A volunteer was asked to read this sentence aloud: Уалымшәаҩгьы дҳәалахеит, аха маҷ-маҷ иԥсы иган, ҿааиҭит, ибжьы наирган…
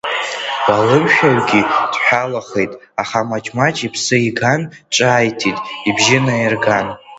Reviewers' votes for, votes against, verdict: 2, 0, accepted